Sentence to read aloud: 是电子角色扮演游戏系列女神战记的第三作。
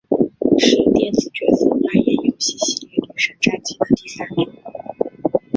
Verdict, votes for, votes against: accepted, 3, 0